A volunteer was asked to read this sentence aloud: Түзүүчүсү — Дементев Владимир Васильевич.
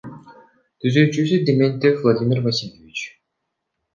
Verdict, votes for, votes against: rejected, 0, 2